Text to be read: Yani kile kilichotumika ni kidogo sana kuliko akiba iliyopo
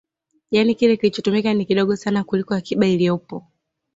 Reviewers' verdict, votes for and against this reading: accepted, 2, 0